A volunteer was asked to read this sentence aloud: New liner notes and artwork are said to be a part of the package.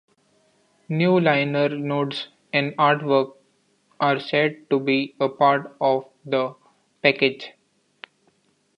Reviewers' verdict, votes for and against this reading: accepted, 2, 0